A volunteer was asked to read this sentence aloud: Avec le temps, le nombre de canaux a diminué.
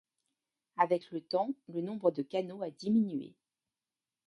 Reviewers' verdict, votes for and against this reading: accepted, 2, 0